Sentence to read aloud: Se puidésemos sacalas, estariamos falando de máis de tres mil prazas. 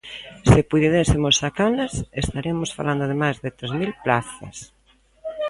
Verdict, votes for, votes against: rejected, 0, 2